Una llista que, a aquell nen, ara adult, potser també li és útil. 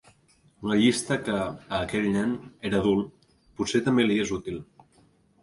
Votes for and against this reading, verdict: 0, 2, rejected